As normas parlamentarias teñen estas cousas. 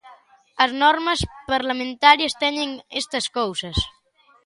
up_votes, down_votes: 2, 0